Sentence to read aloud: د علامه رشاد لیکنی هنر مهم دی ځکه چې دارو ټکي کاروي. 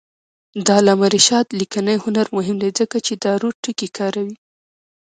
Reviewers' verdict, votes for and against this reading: rejected, 1, 2